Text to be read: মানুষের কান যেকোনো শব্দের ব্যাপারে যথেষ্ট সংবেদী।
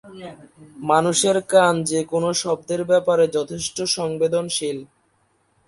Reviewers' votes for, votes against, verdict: 0, 3, rejected